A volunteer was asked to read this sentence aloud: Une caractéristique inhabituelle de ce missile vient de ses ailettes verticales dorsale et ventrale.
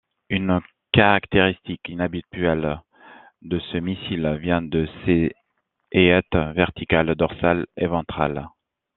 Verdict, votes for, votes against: rejected, 0, 2